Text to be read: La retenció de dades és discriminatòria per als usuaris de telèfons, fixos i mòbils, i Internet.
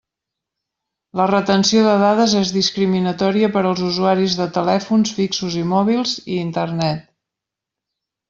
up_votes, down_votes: 3, 0